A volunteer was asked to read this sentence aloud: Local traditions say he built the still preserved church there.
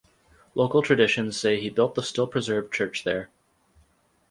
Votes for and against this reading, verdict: 4, 0, accepted